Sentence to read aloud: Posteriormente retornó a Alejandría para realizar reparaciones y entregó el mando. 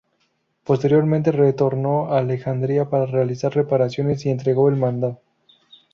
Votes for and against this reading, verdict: 0, 2, rejected